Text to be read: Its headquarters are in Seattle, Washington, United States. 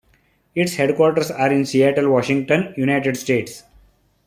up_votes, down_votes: 2, 0